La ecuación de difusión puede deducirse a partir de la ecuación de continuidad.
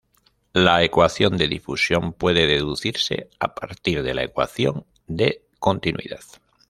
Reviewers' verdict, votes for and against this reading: accepted, 2, 0